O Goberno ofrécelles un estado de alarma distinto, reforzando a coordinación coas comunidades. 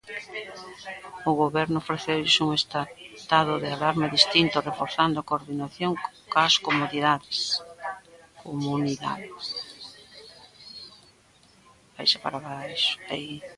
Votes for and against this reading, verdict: 0, 2, rejected